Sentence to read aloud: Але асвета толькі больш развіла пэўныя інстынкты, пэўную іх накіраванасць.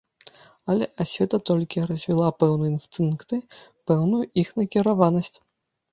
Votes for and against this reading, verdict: 0, 2, rejected